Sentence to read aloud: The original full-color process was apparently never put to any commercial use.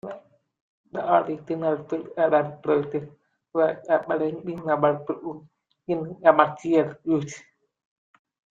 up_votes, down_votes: 0, 2